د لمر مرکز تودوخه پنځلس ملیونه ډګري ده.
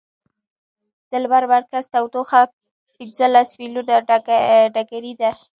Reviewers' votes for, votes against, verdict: 2, 1, accepted